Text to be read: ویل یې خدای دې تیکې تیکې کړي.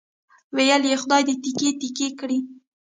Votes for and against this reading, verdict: 0, 2, rejected